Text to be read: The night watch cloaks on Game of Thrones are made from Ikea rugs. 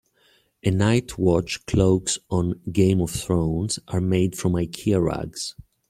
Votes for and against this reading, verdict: 2, 0, accepted